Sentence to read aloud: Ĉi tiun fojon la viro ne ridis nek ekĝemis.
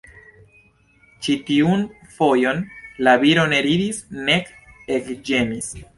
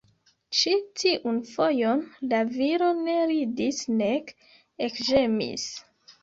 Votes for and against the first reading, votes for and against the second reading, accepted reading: 2, 0, 1, 2, first